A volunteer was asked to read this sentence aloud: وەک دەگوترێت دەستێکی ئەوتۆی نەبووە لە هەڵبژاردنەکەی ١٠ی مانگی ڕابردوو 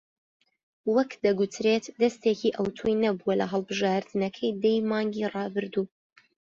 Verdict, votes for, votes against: rejected, 0, 2